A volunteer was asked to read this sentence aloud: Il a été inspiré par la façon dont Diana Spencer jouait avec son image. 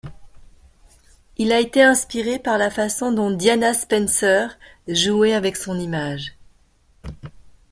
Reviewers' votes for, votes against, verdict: 1, 2, rejected